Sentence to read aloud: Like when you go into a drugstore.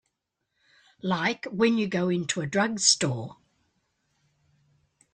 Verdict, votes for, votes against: accepted, 2, 0